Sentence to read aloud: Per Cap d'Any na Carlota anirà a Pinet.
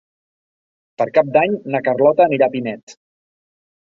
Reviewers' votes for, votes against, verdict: 3, 0, accepted